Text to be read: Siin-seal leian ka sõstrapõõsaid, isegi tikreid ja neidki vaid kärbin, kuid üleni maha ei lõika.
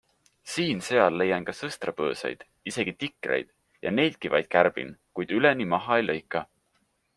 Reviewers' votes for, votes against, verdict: 3, 0, accepted